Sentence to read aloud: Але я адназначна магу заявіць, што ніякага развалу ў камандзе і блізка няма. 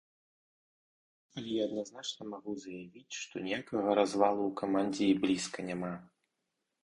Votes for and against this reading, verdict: 2, 2, rejected